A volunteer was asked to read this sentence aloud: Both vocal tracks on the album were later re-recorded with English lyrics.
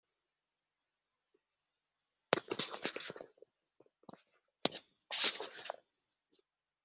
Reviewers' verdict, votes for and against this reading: rejected, 0, 2